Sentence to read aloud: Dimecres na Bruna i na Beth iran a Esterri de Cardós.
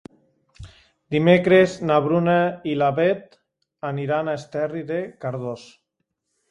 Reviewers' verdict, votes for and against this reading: rejected, 0, 2